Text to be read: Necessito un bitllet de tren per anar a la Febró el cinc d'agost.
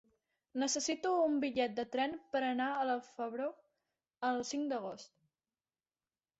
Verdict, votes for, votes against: accepted, 3, 0